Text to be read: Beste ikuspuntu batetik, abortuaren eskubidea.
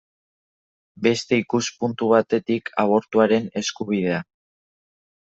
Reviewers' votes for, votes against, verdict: 2, 0, accepted